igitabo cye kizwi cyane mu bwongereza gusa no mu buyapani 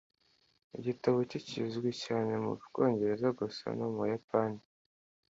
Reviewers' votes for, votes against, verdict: 2, 0, accepted